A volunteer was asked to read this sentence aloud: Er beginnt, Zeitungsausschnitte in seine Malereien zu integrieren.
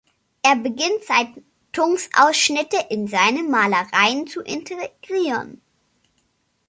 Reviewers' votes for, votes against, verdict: 1, 2, rejected